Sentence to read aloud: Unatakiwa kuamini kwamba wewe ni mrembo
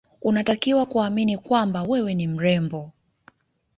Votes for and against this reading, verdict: 2, 1, accepted